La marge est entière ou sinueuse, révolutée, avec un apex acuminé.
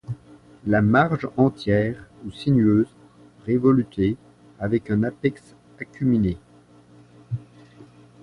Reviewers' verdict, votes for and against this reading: rejected, 1, 2